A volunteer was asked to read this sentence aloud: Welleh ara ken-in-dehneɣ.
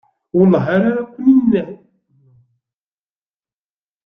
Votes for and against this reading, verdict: 0, 2, rejected